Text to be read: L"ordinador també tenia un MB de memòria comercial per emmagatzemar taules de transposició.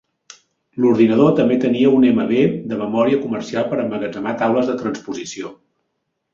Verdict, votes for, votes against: accepted, 4, 0